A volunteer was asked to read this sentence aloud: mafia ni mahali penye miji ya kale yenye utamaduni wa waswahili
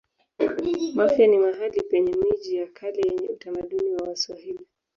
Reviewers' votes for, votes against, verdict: 0, 2, rejected